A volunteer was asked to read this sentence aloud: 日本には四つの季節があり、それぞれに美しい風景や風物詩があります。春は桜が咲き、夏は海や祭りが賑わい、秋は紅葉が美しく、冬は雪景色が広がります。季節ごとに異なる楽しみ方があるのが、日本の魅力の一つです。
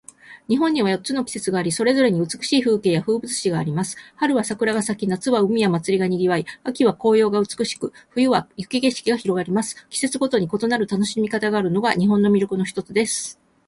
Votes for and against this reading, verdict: 4, 0, accepted